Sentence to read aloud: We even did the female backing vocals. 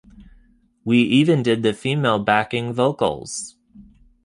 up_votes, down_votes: 2, 0